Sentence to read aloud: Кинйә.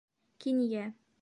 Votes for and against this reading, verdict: 2, 0, accepted